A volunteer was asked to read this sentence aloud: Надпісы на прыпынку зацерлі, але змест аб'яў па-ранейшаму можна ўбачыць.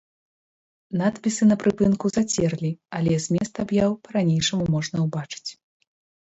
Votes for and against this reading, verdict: 2, 1, accepted